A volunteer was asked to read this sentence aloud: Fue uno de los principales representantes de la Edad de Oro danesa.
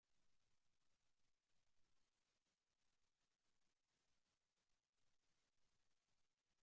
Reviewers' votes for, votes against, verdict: 0, 2, rejected